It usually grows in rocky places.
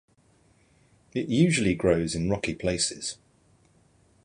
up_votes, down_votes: 2, 0